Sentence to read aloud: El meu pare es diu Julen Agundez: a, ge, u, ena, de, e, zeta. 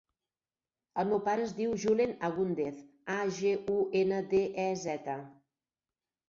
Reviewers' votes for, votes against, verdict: 2, 4, rejected